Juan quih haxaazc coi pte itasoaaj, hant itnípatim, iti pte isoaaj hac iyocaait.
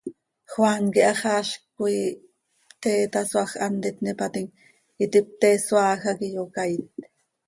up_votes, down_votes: 2, 0